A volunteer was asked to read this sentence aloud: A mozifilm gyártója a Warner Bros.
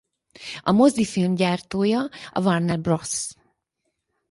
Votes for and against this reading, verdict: 2, 4, rejected